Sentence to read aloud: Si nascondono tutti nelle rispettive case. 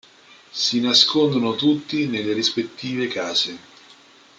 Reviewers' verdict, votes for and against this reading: accepted, 2, 0